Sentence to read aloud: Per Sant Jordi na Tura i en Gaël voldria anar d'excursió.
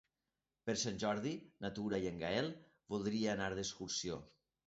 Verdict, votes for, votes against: accepted, 2, 1